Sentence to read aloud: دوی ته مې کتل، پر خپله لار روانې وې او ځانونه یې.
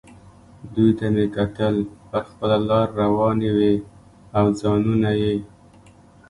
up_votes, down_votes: 2, 0